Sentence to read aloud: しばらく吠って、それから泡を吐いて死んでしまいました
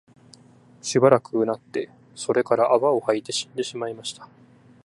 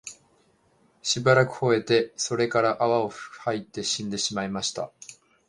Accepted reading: first